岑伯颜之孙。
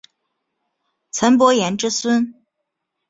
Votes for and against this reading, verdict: 5, 0, accepted